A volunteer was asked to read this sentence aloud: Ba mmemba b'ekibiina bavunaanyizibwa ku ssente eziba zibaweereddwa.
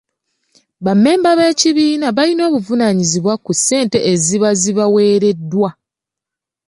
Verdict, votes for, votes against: rejected, 1, 2